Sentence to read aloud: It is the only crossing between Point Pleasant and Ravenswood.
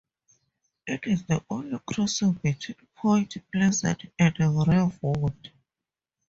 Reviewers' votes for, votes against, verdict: 0, 2, rejected